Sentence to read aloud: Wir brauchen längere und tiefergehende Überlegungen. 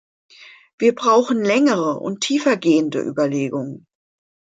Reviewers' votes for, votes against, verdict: 2, 0, accepted